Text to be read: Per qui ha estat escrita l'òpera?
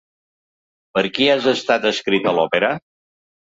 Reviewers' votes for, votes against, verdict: 1, 2, rejected